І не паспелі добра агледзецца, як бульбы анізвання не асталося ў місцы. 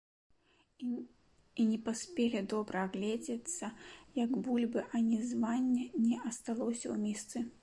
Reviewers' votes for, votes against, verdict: 2, 1, accepted